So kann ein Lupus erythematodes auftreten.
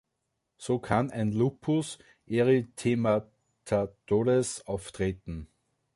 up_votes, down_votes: 1, 2